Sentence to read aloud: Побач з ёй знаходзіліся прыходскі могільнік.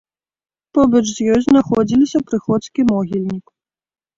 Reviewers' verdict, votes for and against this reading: rejected, 1, 2